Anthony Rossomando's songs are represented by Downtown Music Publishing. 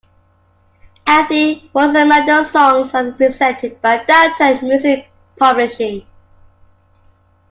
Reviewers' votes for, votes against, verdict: 1, 2, rejected